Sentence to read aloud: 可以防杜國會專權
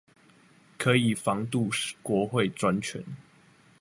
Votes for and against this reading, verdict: 1, 2, rejected